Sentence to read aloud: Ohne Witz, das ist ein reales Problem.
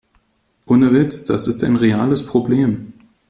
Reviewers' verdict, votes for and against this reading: accepted, 2, 0